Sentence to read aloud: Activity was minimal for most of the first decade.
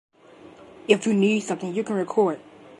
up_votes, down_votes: 0, 2